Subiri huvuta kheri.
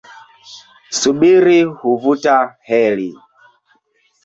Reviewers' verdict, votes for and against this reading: rejected, 2, 4